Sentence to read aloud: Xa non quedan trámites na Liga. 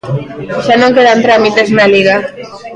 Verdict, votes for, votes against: accepted, 2, 0